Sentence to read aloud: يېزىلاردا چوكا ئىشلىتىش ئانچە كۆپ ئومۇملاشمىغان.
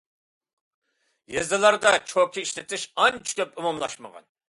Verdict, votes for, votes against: accepted, 2, 0